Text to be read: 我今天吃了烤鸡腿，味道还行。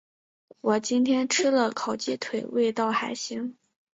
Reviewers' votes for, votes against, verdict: 3, 0, accepted